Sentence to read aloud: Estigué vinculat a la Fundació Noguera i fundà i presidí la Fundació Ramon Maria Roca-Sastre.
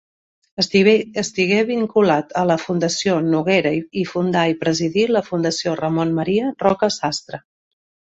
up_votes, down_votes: 1, 2